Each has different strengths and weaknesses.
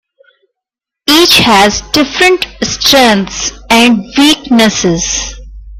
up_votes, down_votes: 0, 2